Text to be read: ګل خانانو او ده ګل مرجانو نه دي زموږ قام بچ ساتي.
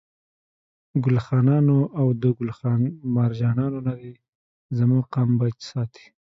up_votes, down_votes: 1, 2